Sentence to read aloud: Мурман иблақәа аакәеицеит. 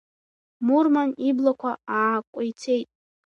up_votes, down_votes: 1, 2